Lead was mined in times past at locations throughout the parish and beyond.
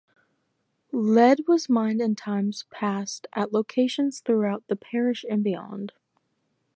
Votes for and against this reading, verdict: 2, 2, rejected